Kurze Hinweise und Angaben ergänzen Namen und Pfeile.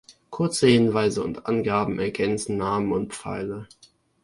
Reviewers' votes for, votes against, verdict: 2, 0, accepted